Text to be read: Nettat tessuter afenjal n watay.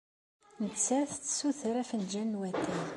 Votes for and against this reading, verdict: 2, 0, accepted